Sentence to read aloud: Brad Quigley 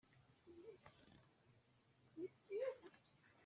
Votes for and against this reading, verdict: 0, 2, rejected